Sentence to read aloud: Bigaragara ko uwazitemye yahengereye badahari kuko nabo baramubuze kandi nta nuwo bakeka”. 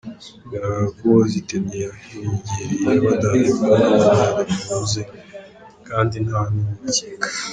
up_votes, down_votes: 1, 3